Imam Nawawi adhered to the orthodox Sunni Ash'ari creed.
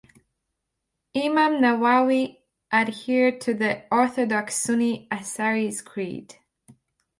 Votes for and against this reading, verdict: 0, 2, rejected